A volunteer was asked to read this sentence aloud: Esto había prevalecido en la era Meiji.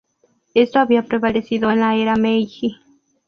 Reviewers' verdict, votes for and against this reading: rejected, 0, 4